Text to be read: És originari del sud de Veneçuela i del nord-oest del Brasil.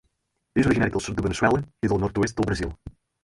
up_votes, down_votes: 0, 4